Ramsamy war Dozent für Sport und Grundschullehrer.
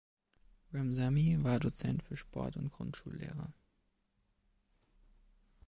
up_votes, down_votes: 2, 0